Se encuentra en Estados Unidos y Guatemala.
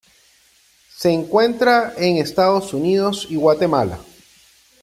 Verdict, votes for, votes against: accepted, 2, 0